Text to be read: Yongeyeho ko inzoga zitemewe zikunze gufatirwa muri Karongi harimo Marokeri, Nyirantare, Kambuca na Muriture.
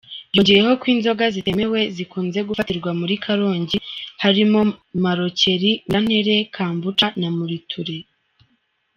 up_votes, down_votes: 0, 2